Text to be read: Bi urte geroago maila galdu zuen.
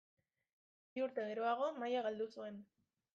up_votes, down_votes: 2, 1